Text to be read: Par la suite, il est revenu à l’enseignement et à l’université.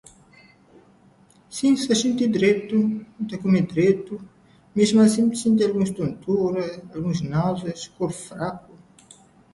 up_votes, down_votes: 0, 2